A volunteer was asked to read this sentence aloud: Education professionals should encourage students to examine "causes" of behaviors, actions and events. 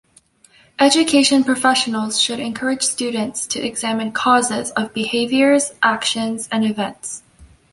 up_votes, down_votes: 2, 0